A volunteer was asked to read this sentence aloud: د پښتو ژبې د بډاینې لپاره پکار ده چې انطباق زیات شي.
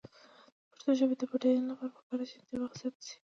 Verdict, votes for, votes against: rejected, 1, 2